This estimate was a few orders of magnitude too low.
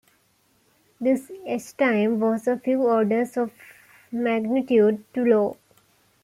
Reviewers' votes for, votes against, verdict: 0, 2, rejected